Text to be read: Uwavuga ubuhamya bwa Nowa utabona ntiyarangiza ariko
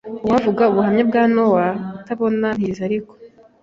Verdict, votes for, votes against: rejected, 0, 2